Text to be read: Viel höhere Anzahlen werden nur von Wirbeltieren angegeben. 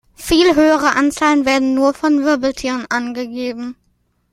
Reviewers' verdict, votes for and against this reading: accepted, 2, 0